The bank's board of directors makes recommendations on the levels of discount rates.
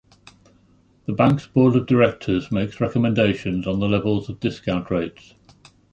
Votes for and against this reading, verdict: 0, 2, rejected